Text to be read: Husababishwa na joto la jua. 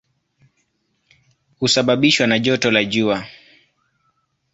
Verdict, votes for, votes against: accepted, 2, 0